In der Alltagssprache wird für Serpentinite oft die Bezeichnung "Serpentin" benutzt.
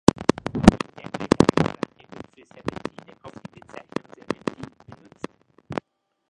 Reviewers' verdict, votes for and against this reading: rejected, 0, 2